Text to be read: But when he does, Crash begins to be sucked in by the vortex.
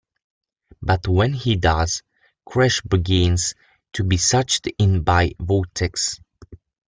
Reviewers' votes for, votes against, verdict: 0, 2, rejected